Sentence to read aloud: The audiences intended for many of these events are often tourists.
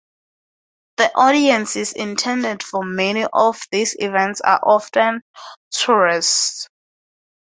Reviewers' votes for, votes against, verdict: 2, 0, accepted